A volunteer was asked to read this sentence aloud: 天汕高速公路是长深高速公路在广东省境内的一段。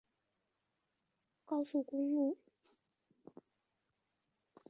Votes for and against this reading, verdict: 0, 3, rejected